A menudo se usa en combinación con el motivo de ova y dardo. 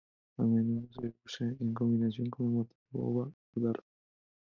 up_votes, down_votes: 0, 4